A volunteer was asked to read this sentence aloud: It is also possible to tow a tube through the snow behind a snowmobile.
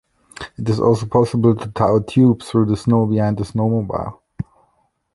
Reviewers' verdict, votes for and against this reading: rejected, 1, 2